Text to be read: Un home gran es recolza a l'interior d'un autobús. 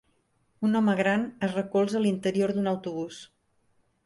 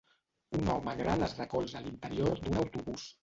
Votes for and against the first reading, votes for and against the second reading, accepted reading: 3, 0, 0, 2, first